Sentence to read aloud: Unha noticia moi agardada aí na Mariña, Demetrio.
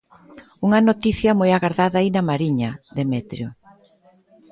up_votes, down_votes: 1, 2